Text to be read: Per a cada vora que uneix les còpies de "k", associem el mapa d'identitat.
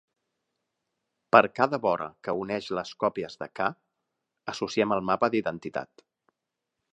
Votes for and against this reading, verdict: 2, 1, accepted